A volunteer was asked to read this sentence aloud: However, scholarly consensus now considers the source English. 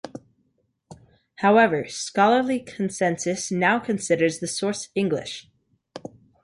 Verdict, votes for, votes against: accepted, 2, 0